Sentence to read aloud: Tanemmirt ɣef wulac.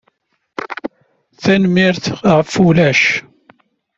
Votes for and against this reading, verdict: 2, 0, accepted